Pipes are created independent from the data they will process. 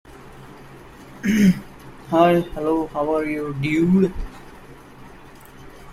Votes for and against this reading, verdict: 0, 2, rejected